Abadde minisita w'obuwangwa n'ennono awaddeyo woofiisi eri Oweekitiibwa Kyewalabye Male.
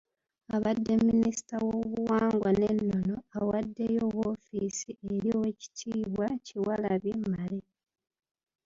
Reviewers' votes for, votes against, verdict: 1, 2, rejected